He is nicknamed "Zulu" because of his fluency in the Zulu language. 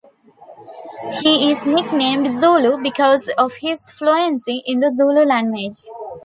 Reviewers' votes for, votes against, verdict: 2, 0, accepted